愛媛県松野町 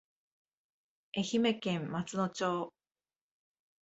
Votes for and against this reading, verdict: 2, 0, accepted